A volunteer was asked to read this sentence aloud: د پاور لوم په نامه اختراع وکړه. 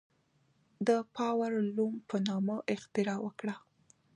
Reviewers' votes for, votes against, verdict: 2, 1, accepted